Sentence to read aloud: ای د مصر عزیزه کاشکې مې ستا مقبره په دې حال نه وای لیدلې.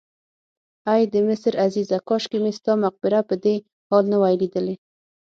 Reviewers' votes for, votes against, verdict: 6, 0, accepted